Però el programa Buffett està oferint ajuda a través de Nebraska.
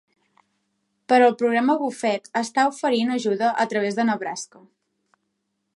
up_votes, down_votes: 3, 0